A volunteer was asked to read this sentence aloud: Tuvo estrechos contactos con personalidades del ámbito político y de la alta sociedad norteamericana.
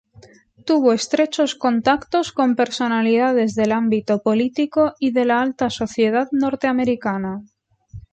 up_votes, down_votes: 2, 0